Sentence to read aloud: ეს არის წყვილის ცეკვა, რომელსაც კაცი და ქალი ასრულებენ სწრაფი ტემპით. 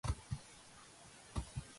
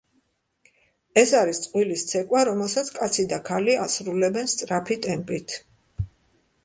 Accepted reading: second